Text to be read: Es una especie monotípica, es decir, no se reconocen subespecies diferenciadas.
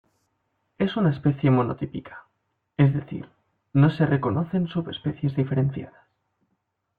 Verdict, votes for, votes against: accepted, 2, 0